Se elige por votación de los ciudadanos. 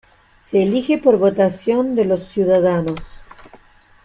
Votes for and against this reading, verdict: 2, 0, accepted